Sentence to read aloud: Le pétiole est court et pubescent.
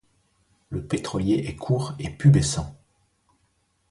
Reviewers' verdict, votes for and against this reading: rejected, 0, 2